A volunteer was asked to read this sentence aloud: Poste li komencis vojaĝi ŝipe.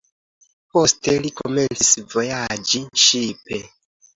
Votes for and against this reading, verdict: 2, 1, accepted